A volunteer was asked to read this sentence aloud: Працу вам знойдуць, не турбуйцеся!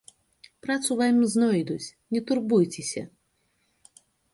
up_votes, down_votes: 2, 0